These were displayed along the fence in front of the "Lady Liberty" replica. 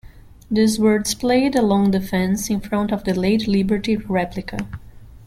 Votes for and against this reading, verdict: 2, 1, accepted